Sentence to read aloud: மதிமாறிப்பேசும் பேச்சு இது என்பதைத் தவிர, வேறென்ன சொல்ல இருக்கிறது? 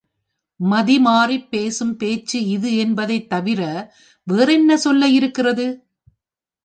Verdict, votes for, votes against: accepted, 2, 0